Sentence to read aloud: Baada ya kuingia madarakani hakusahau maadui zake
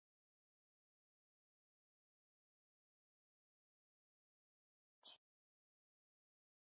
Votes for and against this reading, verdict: 1, 2, rejected